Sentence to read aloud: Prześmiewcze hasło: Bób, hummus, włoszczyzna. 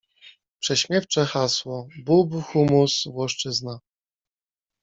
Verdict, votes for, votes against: accepted, 2, 1